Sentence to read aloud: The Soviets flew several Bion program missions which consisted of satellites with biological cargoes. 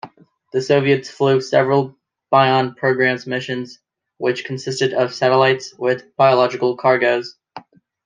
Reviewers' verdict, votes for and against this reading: rejected, 2, 3